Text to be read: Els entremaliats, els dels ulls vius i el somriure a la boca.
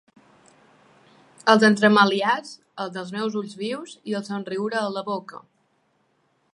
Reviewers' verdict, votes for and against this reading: rejected, 1, 2